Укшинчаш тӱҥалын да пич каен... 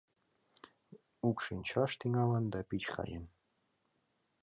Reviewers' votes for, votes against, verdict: 2, 0, accepted